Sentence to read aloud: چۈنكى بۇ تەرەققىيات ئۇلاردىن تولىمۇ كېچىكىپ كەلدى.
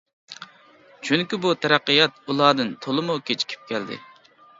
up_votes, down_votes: 2, 0